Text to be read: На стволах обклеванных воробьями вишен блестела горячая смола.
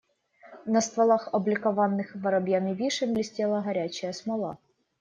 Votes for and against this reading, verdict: 0, 2, rejected